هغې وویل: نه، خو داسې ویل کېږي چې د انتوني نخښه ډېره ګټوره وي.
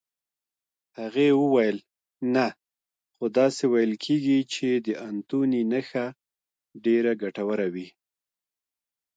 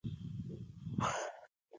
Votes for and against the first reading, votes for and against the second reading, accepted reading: 2, 0, 1, 2, first